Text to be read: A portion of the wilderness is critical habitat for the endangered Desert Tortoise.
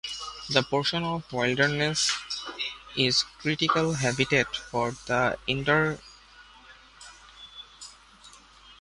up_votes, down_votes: 0, 2